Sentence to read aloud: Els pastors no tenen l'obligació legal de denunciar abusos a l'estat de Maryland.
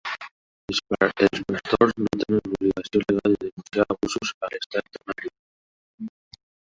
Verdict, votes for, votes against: rejected, 0, 2